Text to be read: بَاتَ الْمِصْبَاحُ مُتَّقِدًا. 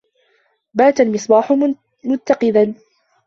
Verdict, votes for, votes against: rejected, 1, 2